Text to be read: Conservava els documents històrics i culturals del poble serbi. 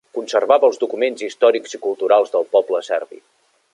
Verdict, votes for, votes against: accepted, 3, 0